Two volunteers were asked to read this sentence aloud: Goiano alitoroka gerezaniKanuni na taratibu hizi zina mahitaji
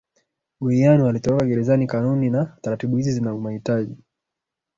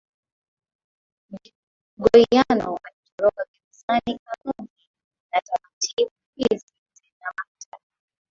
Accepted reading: first